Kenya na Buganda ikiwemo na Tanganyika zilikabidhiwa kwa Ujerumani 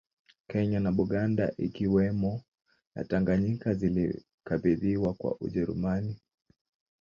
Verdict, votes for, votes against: rejected, 0, 2